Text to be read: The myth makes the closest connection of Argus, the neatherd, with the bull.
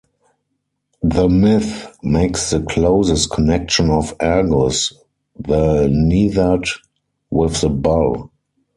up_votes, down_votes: 2, 4